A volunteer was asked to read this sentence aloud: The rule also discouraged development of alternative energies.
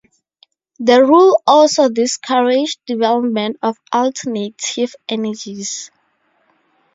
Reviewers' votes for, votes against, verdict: 2, 0, accepted